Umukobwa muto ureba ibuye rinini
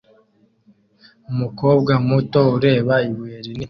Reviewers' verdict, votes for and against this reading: rejected, 0, 2